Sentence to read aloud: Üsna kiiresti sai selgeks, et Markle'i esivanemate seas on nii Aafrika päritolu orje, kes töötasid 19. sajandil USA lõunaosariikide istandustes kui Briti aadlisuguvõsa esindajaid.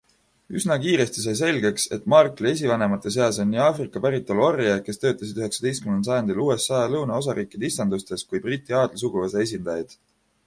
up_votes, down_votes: 0, 2